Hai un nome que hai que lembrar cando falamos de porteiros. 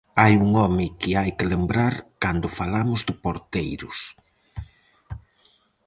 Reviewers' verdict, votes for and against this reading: rejected, 2, 2